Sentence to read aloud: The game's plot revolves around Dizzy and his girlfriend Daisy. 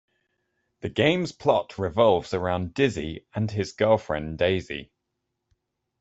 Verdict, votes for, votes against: accepted, 2, 0